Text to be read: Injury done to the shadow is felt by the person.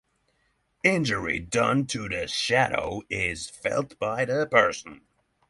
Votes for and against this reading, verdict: 6, 0, accepted